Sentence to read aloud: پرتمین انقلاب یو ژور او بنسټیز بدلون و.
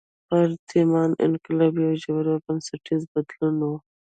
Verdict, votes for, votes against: accepted, 2, 0